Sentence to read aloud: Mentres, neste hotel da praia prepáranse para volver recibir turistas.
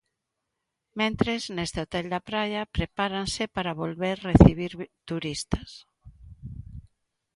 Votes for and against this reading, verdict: 0, 3, rejected